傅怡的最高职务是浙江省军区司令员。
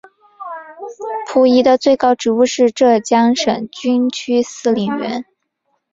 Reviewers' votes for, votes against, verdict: 3, 1, accepted